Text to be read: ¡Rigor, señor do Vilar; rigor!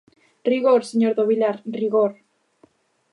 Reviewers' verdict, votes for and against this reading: accepted, 4, 0